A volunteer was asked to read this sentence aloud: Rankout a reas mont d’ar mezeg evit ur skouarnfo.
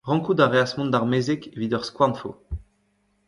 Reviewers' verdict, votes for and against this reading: rejected, 1, 2